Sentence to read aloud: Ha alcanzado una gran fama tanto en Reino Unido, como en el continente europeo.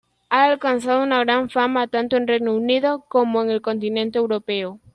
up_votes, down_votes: 2, 0